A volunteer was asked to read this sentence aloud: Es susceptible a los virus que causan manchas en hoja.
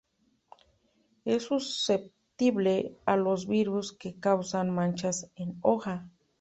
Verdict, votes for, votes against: accepted, 2, 1